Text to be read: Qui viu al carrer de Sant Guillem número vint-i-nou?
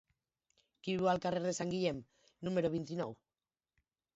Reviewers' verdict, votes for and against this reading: rejected, 2, 2